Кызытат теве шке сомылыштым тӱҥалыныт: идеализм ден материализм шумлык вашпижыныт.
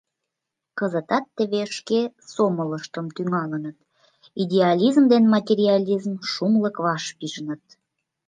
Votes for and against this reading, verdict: 2, 0, accepted